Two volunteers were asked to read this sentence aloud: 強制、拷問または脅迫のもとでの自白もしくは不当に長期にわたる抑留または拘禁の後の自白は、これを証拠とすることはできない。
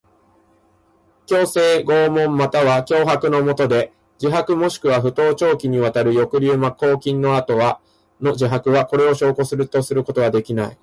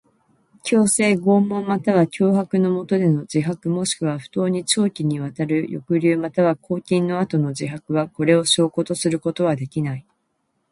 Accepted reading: second